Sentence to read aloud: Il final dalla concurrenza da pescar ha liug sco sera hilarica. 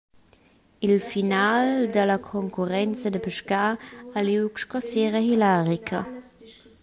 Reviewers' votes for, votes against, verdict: 1, 2, rejected